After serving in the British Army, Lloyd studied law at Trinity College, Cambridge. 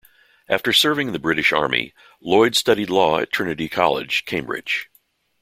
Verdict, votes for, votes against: accepted, 2, 0